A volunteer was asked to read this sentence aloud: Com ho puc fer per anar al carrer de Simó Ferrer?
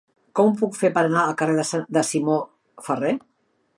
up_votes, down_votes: 0, 3